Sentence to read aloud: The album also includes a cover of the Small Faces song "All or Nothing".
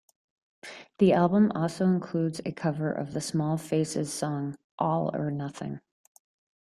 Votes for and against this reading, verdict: 2, 0, accepted